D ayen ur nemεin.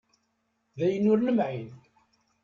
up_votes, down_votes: 1, 2